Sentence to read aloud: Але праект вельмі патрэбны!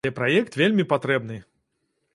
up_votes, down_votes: 0, 2